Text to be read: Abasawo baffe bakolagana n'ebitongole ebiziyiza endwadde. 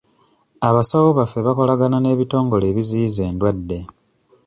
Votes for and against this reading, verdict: 2, 0, accepted